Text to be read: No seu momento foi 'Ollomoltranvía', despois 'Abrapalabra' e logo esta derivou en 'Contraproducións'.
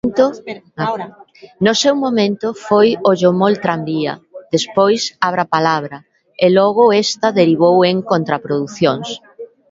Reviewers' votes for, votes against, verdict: 1, 2, rejected